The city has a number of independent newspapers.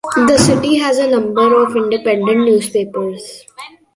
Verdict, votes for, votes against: rejected, 1, 2